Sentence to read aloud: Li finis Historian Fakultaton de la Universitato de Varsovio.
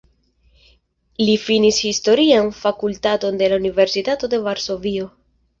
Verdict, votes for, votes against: accepted, 2, 0